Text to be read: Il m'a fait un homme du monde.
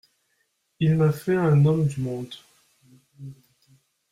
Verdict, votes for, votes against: accepted, 2, 0